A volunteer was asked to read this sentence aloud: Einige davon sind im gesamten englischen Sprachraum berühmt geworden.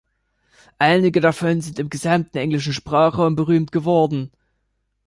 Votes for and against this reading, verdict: 3, 0, accepted